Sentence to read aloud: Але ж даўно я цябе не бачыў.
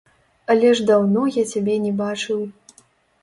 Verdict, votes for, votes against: rejected, 1, 2